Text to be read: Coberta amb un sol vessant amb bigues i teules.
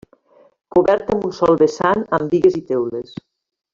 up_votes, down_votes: 1, 2